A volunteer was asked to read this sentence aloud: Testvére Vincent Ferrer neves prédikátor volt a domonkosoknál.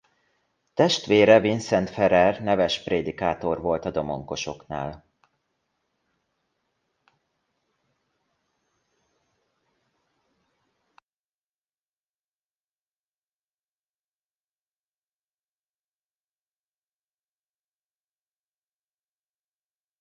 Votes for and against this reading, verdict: 1, 2, rejected